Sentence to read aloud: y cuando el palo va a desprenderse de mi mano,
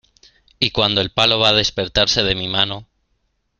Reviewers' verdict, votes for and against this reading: rejected, 0, 2